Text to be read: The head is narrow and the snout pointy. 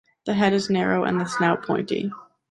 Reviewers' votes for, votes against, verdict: 2, 0, accepted